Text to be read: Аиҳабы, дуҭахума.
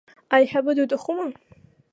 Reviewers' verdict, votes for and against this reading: accepted, 3, 0